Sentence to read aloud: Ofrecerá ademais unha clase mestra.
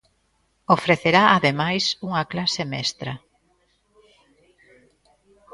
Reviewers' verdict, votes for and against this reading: rejected, 1, 2